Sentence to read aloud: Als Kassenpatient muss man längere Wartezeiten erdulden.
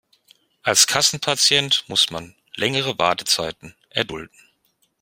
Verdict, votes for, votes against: accepted, 4, 0